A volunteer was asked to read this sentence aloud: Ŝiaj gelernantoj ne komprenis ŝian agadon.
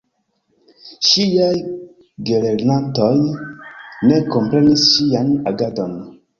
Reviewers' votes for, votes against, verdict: 1, 2, rejected